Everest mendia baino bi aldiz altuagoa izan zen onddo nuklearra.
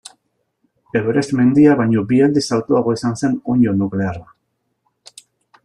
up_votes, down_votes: 3, 0